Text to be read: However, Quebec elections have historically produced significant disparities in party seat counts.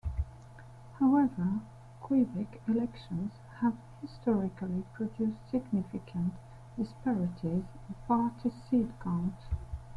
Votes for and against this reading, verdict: 0, 2, rejected